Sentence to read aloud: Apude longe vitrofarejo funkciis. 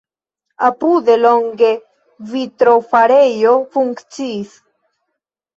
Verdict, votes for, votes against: accepted, 2, 1